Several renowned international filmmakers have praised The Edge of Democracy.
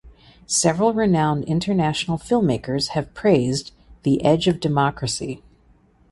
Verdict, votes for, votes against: accepted, 2, 0